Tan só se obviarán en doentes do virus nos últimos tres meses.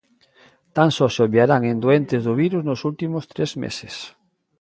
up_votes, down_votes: 2, 0